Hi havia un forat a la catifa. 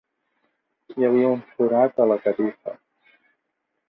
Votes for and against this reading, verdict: 1, 2, rejected